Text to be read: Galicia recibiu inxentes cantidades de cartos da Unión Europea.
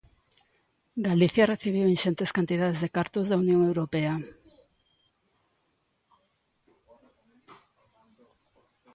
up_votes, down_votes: 1, 2